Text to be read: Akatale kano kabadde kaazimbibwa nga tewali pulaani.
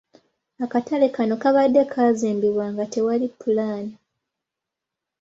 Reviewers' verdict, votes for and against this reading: accepted, 3, 0